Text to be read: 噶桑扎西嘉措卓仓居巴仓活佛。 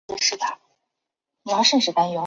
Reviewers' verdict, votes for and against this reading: rejected, 0, 3